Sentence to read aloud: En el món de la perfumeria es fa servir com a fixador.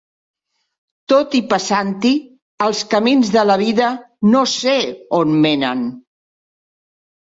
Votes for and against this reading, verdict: 0, 2, rejected